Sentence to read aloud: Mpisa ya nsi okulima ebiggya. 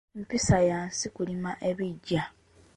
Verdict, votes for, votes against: rejected, 0, 2